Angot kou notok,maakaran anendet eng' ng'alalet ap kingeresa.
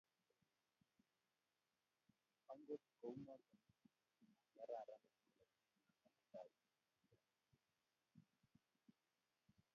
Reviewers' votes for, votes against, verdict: 1, 2, rejected